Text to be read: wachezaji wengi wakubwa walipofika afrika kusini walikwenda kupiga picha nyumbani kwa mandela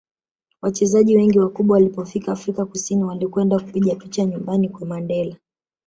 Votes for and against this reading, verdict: 3, 0, accepted